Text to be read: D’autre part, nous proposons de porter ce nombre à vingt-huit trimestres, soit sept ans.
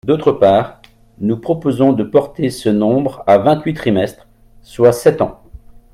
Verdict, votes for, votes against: accepted, 2, 0